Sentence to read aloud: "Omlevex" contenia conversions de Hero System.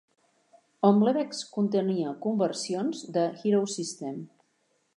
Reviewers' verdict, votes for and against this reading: accepted, 3, 0